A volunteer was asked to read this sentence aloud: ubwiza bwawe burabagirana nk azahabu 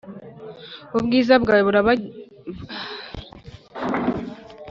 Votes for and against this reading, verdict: 0, 3, rejected